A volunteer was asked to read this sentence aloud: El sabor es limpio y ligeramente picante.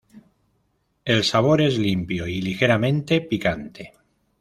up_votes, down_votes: 2, 0